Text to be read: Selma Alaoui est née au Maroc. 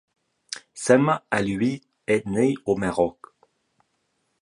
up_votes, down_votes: 1, 2